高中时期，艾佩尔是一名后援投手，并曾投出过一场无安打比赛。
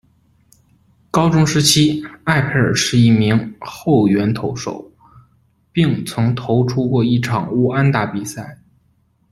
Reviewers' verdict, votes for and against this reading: accepted, 2, 0